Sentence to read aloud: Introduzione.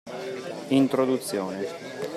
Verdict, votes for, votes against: accepted, 2, 0